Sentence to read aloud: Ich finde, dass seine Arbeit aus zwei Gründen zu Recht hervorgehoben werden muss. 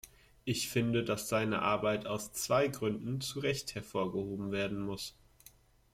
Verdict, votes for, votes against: accepted, 2, 0